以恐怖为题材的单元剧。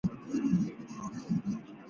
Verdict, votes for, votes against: rejected, 1, 3